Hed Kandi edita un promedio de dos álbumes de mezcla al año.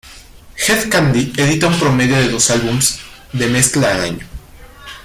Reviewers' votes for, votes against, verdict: 0, 2, rejected